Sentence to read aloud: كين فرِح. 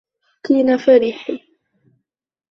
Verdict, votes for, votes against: rejected, 0, 2